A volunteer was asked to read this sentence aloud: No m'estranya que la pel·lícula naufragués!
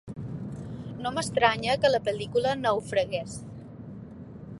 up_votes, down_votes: 2, 0